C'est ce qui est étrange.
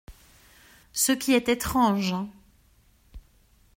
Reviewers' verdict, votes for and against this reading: rejected, 1, 2